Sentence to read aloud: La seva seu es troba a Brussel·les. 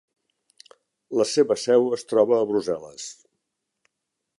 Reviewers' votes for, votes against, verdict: 2, 0, accepted